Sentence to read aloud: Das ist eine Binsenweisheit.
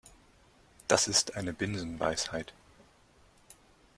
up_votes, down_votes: 2, 0